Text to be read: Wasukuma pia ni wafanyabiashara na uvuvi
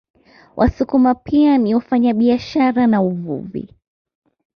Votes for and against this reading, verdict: 2, 0, accepted